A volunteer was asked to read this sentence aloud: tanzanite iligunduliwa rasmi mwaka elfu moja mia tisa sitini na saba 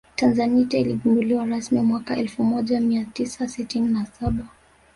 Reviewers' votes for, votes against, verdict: 1, 2, rejected